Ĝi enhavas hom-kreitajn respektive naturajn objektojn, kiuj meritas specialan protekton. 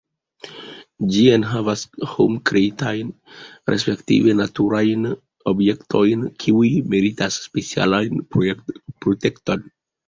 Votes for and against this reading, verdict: 2, 1, accepted